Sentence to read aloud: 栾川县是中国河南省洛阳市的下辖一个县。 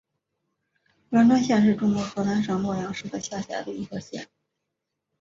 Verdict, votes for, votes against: accepted, 2, 0